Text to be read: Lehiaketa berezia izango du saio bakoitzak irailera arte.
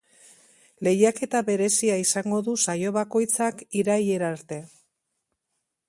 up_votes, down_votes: 2, 0